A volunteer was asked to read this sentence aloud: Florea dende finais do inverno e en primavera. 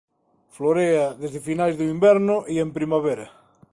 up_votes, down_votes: 0, 2